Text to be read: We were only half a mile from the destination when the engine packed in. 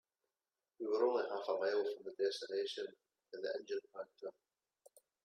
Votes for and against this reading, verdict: 1, 3, rejected